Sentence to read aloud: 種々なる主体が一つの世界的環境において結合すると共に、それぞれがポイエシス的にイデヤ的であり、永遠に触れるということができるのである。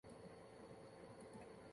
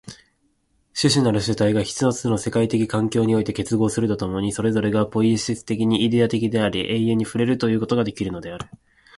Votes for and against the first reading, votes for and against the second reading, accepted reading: 0, 2, 4, 0, second